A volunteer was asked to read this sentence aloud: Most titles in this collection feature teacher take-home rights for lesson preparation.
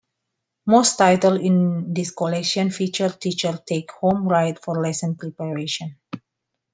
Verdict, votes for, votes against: rejected, 0, 2